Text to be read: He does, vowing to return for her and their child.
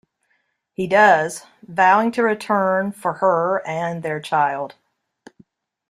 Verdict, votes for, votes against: accepted, 2, 0